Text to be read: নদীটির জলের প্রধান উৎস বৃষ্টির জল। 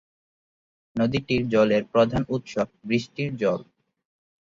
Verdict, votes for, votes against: accepted, 2, 0